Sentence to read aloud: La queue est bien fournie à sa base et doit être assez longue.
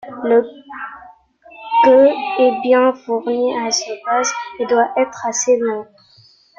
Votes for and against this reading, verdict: 0, 2, rejected